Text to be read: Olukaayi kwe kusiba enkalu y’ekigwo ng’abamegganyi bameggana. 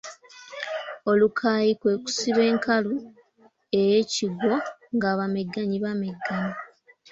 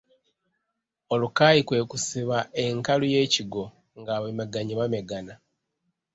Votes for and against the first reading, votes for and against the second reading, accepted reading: 0, 2, 2, 0, second